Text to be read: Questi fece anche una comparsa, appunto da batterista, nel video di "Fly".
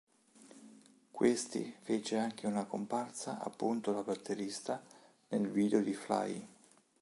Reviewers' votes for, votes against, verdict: 3, 0, accepted